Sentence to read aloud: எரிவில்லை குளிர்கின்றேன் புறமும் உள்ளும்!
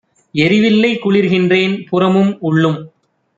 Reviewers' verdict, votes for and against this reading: accepted, 2, 0